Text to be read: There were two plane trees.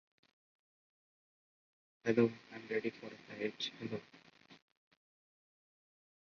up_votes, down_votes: 0, 2